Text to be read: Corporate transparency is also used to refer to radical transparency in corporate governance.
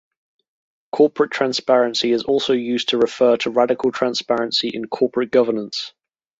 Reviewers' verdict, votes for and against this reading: rejected, 0, 2